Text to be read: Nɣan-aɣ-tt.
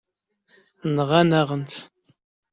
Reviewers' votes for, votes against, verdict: 1, 2, rejected